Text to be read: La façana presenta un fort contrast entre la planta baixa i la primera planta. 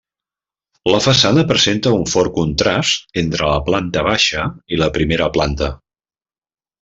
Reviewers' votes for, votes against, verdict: 0, 2, rejected